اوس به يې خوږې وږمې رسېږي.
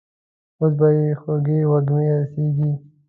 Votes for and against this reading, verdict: 2, 0, accepted